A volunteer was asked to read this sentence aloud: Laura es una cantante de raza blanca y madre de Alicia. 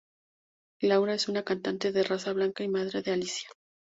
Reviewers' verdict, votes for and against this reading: accepted, 4, 0